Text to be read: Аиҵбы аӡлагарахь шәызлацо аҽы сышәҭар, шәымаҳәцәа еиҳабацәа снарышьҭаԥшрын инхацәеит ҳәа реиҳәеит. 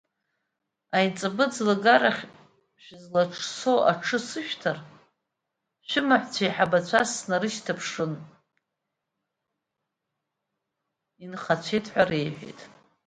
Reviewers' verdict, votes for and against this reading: rejected, 1, 2